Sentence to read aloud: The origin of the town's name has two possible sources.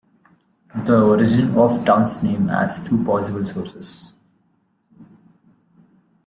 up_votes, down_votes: 0, 2